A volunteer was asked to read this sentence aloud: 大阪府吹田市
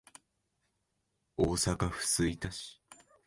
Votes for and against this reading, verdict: 2, 0, accepted